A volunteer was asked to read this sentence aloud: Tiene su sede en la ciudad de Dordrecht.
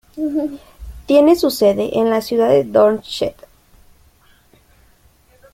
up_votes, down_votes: 0, 2